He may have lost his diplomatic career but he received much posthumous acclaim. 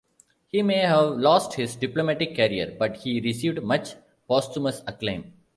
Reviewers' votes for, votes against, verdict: 2, 0, accepted